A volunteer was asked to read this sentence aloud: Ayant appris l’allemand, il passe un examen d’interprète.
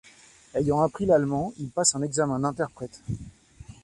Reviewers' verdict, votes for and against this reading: accepted, 2, 0